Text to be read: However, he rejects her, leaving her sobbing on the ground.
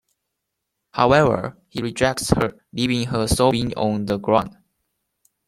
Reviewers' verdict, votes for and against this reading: accepted, 2, 1